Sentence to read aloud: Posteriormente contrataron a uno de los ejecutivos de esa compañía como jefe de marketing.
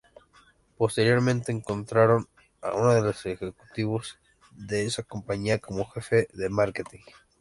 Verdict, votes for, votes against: rejected, 0, 2